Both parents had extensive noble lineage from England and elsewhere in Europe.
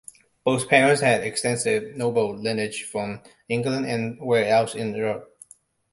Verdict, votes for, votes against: accepted, 2, 0